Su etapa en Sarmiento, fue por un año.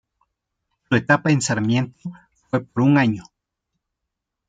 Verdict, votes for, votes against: rejected, 1, 2